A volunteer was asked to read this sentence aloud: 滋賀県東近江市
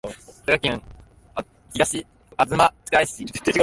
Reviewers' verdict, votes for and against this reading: rejected, 0, 2